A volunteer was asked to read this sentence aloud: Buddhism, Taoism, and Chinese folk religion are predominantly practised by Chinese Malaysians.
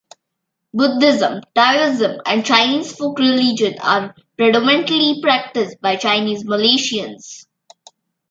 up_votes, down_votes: 2, 0